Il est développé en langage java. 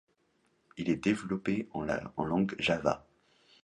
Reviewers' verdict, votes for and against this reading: rejected, 0, 2